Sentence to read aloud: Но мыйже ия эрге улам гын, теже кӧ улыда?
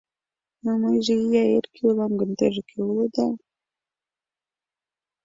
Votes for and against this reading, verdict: 2, 0, accepted